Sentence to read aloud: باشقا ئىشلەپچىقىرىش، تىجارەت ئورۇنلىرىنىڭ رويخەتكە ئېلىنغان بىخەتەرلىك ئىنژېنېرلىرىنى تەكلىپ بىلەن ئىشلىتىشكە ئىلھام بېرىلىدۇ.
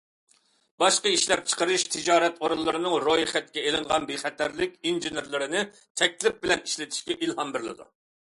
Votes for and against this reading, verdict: 2, 0, accepted